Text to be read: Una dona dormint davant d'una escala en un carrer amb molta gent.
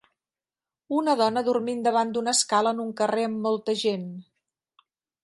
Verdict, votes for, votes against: accepted, 3, 0